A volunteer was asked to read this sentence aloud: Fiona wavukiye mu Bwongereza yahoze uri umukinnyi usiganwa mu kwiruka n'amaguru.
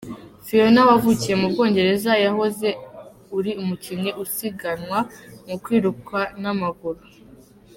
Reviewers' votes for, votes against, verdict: 0, 2, rejected